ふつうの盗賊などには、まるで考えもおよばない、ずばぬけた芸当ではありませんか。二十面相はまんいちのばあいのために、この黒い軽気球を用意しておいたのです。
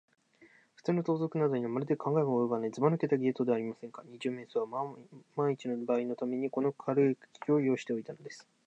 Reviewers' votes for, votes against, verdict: 0, 2, rejected